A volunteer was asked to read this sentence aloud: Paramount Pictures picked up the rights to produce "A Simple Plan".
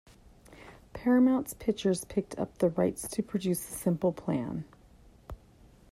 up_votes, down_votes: 0, 2